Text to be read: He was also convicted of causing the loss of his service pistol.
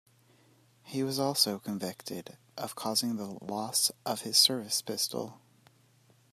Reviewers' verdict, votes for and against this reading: accepted, 2, 1